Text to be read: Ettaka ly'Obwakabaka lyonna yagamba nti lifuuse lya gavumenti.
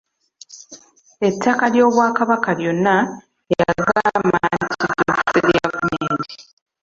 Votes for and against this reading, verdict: 0, 2, rejected